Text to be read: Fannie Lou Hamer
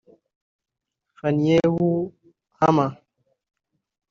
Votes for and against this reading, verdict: 0, 2, rejected